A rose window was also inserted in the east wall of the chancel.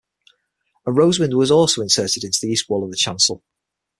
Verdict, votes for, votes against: rejected, 0, 6